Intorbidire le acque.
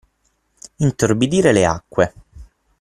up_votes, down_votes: 9, 0